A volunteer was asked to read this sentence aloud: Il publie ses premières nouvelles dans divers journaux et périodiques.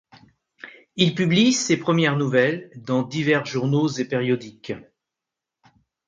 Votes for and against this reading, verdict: 2, 0, accepted